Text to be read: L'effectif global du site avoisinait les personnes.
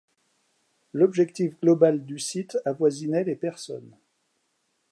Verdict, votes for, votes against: rejected, 0, 2